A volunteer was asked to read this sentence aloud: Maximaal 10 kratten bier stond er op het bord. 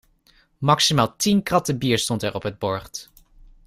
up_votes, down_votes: 0, 2